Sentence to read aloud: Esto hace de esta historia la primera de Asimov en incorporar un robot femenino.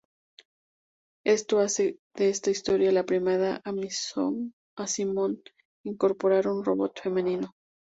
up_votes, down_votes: 0, 2